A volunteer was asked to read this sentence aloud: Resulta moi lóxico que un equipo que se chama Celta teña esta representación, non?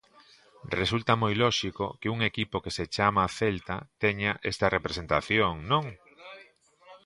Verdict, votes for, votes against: rejected, 1, 2